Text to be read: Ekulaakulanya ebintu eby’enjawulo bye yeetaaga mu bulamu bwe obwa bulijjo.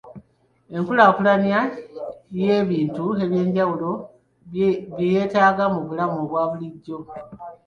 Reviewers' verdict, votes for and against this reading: rejected, 1, 2